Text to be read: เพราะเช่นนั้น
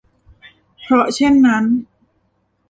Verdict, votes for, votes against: rejected, 1, 2